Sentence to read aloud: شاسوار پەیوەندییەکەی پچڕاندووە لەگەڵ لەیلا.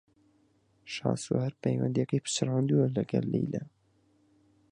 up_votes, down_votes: 4, 0